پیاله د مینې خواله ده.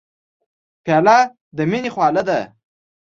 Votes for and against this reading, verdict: 2, 0, accepted